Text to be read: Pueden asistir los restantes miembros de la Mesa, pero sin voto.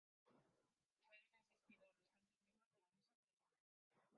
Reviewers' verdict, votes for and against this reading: rejected, 0, 2